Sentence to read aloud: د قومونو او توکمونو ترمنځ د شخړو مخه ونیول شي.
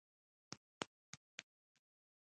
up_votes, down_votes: 0, 2